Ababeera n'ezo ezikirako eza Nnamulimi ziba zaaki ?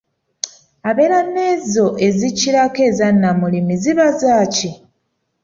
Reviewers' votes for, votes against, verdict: 0, 2, rejected